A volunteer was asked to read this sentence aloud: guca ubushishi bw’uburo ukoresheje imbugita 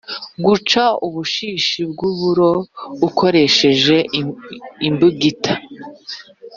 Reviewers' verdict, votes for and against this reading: rejected, 1, 2